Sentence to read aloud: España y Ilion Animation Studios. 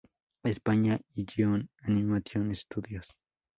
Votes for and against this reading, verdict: 0, 4, rejected